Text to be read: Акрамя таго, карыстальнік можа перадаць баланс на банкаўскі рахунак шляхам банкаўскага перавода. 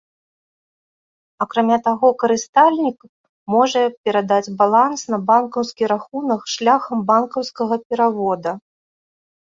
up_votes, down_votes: 1, 2